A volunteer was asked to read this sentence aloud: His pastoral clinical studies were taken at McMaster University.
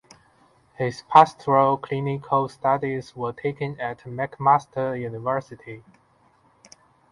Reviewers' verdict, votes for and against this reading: accepted, 2, 0